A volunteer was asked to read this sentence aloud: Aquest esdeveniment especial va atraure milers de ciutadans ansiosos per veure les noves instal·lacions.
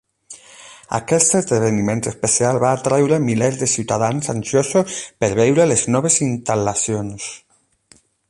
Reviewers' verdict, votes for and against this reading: rejected, 0, 8